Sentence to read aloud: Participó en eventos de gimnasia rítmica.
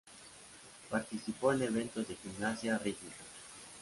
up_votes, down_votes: 2, 0